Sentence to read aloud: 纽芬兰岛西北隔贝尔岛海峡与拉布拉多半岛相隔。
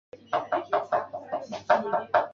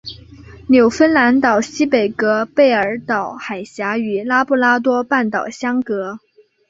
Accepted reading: second